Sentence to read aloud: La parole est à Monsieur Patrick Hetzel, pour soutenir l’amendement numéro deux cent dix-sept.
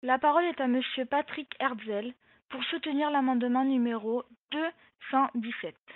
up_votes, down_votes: 0, 2